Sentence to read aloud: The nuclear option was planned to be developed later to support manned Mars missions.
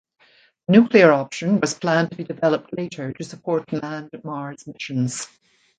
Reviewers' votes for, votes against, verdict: 1, 2, rejected